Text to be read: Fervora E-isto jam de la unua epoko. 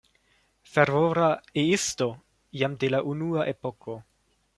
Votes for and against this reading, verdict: 2, 0, accepted